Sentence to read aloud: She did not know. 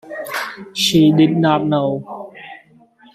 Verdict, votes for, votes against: accepted, 2, 0